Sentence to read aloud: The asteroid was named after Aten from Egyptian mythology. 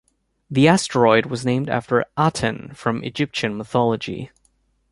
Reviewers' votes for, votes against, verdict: 2, 0, accepted